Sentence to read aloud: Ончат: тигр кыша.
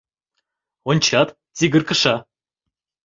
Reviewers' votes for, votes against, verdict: 2, 0, accepted